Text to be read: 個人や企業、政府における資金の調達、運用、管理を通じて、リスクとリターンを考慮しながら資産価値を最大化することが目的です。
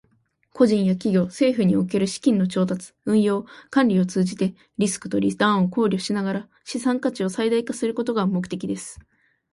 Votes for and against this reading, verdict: 2, 0, accepted